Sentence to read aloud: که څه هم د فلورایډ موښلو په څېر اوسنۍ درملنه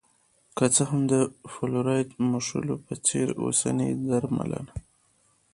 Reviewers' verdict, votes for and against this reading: accepted, 2, 1